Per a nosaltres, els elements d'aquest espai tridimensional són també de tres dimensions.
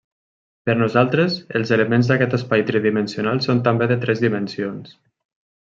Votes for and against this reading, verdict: 1, 2, rejected